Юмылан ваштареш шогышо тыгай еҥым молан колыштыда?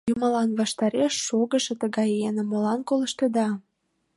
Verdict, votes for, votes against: accepted, 2, 0